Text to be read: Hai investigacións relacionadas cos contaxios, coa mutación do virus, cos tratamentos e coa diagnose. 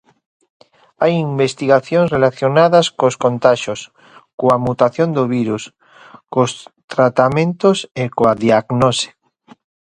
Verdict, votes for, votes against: accepted, 2, 0